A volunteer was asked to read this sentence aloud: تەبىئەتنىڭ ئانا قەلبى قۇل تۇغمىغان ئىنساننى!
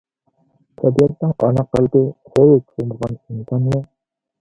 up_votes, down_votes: 0, 2